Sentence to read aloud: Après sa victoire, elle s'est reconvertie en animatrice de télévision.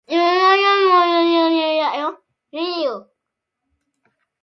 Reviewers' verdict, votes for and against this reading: rejected, 0, 2